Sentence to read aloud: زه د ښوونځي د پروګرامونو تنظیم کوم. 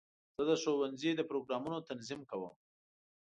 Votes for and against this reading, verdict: 2, 0, accepted